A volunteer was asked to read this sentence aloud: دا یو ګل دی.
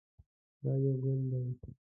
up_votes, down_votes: 0, 2